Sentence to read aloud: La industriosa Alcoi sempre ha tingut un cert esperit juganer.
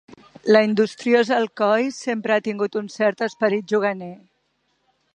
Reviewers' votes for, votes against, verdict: 4, 0, accepted